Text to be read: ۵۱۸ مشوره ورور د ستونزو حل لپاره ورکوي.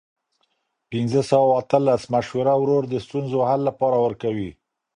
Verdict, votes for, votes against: rejected, 0, 2